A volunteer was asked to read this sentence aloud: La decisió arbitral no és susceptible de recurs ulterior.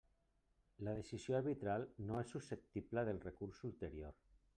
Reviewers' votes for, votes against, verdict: 1, 2, rejected